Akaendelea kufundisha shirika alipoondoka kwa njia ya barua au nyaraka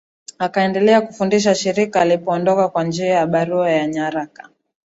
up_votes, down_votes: 4, 1